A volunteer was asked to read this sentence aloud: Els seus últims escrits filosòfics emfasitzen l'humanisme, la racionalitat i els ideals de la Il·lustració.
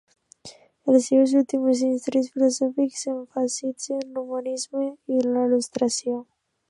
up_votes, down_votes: 0, 2